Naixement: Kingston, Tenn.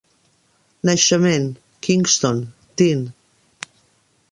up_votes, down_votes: 0, 2